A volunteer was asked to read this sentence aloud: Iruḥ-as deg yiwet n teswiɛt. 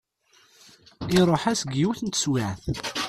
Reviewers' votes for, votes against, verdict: 0, 2, rejected